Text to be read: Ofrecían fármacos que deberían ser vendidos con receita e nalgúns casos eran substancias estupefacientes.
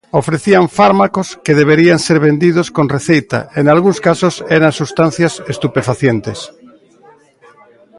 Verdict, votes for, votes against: rejected, 0, 2